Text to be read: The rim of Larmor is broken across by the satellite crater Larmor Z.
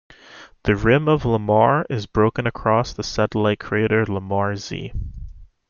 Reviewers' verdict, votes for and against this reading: rejected, 1, 2